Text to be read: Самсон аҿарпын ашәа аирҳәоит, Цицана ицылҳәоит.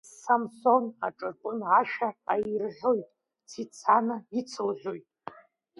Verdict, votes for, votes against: accepted, 2, 0